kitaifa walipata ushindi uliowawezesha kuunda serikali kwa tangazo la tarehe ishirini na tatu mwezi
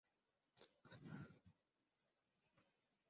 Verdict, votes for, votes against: rejected, 0, 3